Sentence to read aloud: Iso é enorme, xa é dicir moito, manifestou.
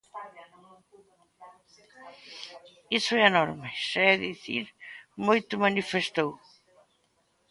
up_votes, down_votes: 1, 2